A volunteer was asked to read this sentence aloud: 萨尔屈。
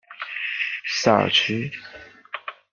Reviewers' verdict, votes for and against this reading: accepted, 2, 0